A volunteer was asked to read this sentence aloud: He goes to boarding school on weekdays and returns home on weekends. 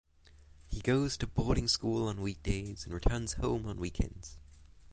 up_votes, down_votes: 3, 3